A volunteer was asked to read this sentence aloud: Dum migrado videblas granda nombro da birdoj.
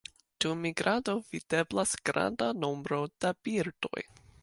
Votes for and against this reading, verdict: 2, 0, accepted